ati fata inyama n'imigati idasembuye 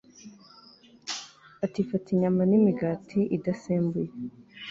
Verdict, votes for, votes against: accepted, 2, 0